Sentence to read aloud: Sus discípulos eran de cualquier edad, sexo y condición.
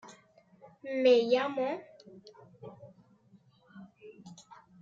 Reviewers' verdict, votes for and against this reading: rejected, 0, 2